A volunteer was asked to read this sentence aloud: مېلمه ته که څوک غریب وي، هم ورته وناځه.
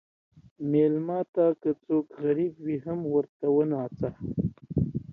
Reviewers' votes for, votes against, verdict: 3, 0, accepted